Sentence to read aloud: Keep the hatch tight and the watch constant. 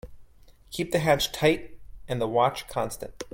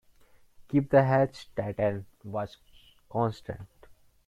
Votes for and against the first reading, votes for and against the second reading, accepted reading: 2, 0, 0, 2, first